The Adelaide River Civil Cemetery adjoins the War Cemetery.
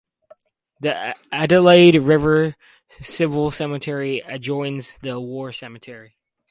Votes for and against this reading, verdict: 2, 4, rejected